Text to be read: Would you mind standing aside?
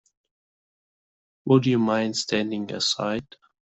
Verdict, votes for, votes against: accepted, 2, 0